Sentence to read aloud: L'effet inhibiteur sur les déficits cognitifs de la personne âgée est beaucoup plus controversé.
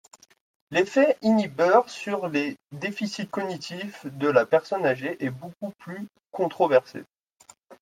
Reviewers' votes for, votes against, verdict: 1, 2, rejected